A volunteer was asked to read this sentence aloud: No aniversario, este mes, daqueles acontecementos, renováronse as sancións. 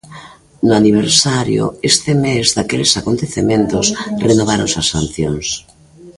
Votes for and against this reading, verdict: 2, 0, accepted